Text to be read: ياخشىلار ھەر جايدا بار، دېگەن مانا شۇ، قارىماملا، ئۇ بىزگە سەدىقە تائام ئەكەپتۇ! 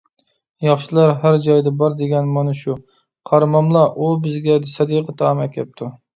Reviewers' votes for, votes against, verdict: 2, 1, accepted